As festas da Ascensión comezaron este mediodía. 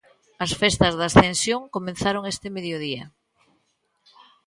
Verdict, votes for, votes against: rejected, 1, 2